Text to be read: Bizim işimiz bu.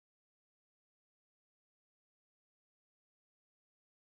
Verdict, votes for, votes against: rejected, 0, 2